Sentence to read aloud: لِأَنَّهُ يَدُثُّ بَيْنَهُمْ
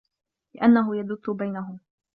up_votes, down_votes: 2, 1